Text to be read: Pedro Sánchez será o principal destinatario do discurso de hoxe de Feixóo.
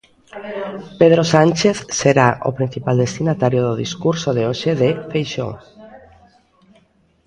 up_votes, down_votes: 2, 0